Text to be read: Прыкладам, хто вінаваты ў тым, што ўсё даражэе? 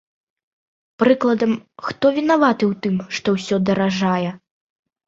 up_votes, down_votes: 1, 2